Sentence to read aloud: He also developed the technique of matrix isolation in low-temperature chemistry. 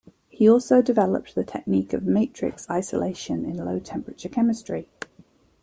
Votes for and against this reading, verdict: 2, 0, accepted